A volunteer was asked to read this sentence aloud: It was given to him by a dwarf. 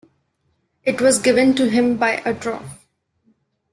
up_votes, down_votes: 0, 2